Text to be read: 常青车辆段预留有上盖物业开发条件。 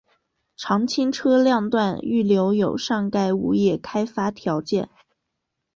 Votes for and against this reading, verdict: 7, 0, accepted